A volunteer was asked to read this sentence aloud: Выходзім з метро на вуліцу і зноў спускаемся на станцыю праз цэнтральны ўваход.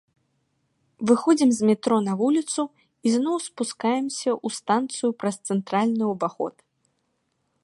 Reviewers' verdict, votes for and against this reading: rejected, 1, 2